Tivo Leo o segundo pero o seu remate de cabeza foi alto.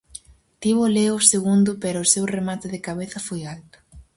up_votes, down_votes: 4, 0